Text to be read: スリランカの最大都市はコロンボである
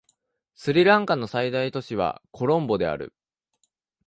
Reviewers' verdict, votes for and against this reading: accepted, 2, 0